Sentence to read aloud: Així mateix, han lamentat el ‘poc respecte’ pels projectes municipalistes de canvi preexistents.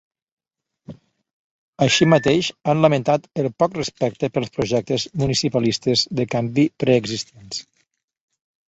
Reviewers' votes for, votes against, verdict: 1, 2, rejected